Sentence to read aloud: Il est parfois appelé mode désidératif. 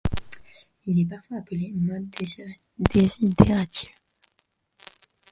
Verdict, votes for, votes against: rejected, 1, 2